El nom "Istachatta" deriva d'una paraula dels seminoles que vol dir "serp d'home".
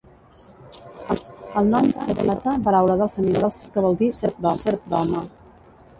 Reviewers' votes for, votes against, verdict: 1, 2, rejected